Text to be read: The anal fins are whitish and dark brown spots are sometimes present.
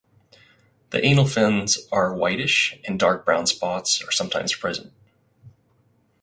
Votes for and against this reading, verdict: 4, 0, accepted